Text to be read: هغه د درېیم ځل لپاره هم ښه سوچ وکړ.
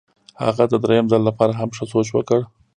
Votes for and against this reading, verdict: 2, 0, accepted